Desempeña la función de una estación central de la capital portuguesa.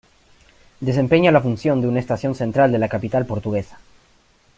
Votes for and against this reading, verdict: 2, 0, accepted